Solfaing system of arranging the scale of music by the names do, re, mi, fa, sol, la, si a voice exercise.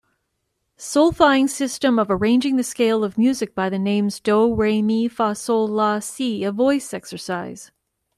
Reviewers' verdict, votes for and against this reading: accepted, 2, 0